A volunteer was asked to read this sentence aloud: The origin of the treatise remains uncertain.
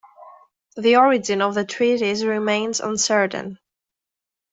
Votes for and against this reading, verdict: 2, 0, accepted